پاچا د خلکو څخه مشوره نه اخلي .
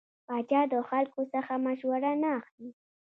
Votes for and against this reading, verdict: 2, 0, accepted